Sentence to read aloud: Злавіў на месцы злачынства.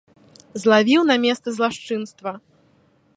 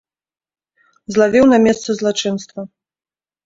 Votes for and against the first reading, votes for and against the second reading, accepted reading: 0, 2, 2, 0, second